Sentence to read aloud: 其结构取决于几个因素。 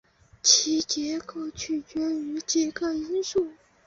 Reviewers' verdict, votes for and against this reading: accepted, 2, 0